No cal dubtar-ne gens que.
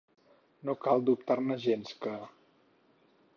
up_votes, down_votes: 4, 0